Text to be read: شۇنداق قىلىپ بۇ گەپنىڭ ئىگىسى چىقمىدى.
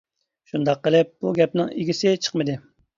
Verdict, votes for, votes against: accepted, 2, 0